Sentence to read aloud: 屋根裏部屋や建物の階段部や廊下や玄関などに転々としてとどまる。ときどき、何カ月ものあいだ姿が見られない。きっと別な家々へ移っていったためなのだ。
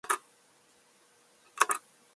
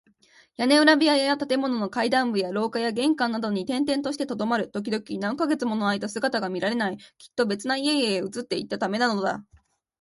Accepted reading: second